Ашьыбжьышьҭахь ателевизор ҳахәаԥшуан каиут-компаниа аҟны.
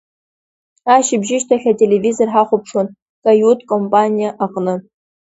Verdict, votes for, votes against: accepted, 2, 1